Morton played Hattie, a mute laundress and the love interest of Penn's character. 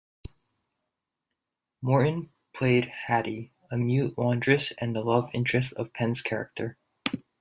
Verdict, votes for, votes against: accepted, 2, 0